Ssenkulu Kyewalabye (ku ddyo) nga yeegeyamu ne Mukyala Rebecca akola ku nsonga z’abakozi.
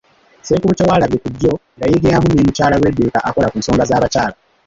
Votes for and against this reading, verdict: 0, 2, rejected